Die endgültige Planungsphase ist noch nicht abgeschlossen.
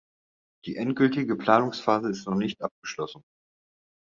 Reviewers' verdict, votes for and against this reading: accepted, 2, 0